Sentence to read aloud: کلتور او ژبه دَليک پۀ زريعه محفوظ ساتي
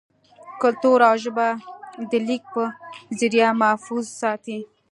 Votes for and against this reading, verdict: 0, 2, rejected